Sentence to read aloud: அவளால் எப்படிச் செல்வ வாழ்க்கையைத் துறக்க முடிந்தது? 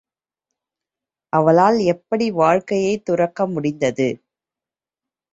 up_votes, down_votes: 1, 2